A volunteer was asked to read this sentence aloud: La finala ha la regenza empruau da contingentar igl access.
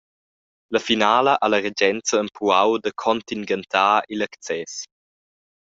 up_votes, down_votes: 0, 2